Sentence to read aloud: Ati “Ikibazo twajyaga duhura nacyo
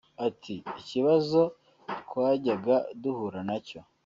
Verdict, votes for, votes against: rejected, 1, 2